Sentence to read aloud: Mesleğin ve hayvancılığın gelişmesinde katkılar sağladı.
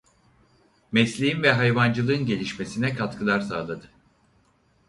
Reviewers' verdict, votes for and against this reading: rejected, 2, 4